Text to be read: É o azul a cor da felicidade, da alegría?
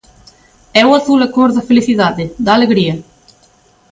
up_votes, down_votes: 2, 0